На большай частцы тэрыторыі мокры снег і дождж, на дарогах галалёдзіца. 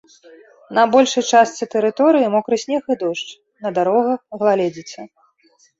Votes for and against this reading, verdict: 2, 3, rejected